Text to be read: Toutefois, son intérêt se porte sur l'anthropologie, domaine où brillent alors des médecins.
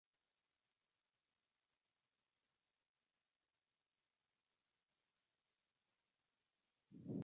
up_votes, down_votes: 0, 2